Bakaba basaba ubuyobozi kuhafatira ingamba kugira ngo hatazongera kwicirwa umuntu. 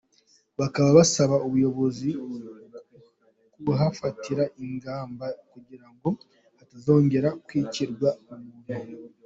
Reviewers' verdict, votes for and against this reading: accepted, 2, 1